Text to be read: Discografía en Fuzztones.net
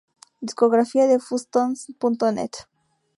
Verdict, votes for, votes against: rejected, 0, 2